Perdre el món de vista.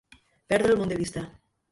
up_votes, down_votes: 1, 2